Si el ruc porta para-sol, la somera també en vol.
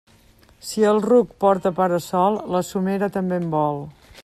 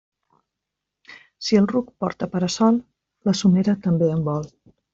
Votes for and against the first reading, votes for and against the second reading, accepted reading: 2, 0, 1, 2, first